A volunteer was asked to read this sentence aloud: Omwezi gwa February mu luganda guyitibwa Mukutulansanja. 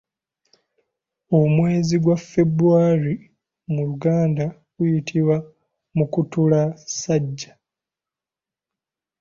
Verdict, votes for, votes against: rejected, 0, 2